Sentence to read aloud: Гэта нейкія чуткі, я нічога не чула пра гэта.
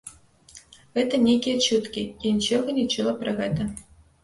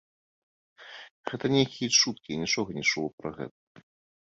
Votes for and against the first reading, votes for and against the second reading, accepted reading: 1, 2, 2, 1, second